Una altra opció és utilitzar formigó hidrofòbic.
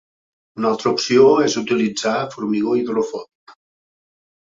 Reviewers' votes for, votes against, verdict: 3, 0, accepted